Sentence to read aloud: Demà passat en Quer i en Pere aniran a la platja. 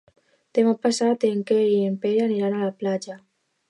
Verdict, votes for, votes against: accepted, 2, 0